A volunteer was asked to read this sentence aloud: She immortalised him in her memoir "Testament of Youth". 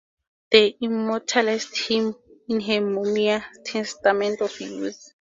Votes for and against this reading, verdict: 0, 4, rejected